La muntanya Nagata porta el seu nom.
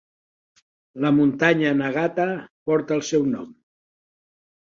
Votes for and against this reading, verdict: 3, 0, accepted